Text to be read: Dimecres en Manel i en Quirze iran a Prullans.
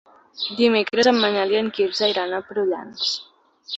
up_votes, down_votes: 2, 0